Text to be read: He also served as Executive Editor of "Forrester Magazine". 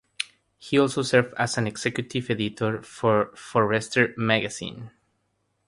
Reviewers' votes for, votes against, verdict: 0, 3, rejected